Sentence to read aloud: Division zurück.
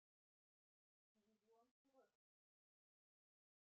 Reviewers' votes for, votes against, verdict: 0, 2, rejected